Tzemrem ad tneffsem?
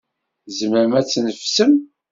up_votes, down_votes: 2, 0